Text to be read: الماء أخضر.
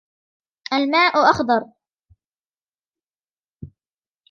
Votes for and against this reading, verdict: 0, 2, rejected